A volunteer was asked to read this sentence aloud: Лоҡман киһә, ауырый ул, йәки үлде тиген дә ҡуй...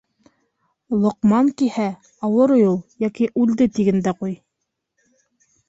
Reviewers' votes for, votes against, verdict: 2, 1, accepted